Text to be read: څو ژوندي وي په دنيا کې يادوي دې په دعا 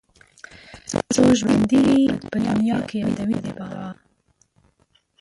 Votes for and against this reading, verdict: 1, 3, rejected